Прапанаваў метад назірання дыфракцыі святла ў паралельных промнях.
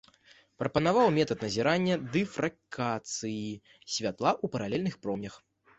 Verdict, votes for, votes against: rejected, 1, 2